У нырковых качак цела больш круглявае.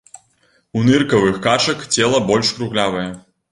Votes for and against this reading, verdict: 0, 2, rejected